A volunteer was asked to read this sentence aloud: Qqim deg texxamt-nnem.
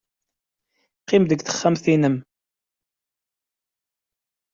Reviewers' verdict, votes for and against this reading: accepted, 2, 0